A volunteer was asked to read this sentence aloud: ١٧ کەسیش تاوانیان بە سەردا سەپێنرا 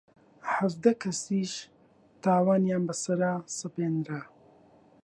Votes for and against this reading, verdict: 0, 2, rejected